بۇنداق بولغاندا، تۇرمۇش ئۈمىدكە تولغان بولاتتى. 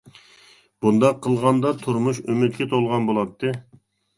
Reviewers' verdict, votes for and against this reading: rejected, 1, 2